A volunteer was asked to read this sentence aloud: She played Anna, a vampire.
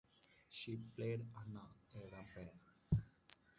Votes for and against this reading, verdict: 1, 2, rejected